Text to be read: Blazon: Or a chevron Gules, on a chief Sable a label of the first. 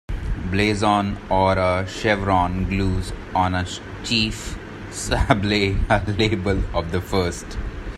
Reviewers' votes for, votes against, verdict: 0, 2, rejected